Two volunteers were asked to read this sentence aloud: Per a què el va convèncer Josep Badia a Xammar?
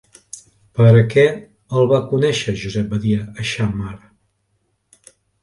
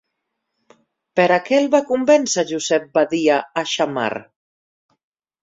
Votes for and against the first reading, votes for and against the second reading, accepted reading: 0, 2, 4, 0, second